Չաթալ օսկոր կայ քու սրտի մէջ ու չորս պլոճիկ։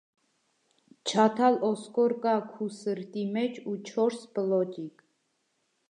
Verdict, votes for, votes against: accepted, 2, 0